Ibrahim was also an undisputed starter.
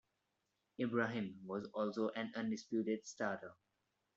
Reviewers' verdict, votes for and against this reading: rejected, 1, 2